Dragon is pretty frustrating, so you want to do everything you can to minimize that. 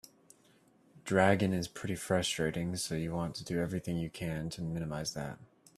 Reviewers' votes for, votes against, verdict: 2, 0, accepted